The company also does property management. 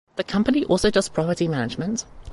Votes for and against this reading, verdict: 2, 0, accepted